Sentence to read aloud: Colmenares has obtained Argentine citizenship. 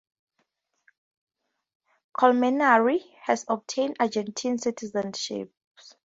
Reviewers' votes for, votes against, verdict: 2, 0, accepted